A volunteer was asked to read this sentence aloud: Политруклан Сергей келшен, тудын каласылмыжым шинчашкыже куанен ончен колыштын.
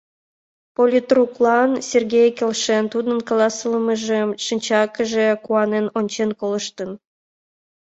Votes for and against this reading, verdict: 1, 2, rejected